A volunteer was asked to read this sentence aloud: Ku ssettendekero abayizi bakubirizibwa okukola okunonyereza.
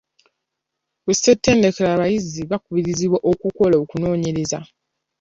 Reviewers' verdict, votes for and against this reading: accepted, 2, 0